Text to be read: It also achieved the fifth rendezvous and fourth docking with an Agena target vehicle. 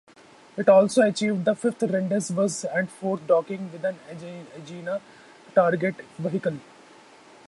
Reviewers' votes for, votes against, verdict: 0, 4, rejected